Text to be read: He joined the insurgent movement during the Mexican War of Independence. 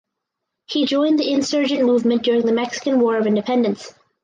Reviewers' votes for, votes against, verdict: 0, 4, rejected